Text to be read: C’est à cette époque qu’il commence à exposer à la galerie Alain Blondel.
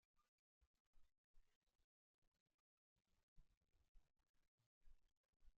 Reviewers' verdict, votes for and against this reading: rejected, 0, 2